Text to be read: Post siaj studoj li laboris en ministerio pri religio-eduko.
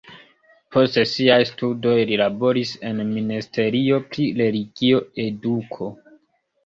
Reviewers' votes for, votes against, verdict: 0, 2, rejected